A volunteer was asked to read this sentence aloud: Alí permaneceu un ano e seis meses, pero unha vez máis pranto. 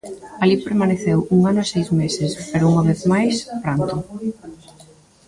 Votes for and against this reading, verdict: 2, 1, accepted